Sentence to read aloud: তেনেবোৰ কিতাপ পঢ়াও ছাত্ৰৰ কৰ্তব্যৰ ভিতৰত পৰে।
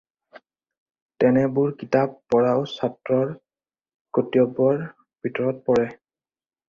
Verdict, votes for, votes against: accepted, 4, 0